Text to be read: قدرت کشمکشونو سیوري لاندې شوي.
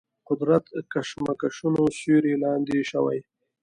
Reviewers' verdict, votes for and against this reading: accepted, 2, 0